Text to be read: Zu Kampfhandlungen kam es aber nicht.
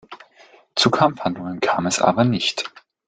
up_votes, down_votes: 2, 0